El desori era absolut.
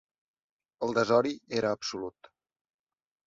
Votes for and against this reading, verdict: 6, 0, accepted